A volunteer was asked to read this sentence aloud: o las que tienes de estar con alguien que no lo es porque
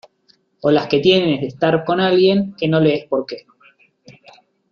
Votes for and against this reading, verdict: 2, 0, accepted